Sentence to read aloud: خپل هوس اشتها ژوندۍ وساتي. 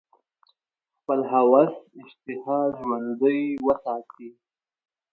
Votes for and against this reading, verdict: 2, 0, accepted